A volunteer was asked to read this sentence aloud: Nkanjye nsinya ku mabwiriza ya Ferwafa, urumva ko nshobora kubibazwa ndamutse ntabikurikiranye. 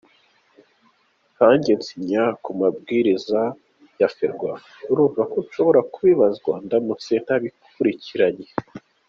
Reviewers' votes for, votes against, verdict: 2, 0, accepted